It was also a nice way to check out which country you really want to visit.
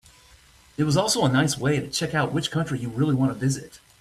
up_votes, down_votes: 2, 1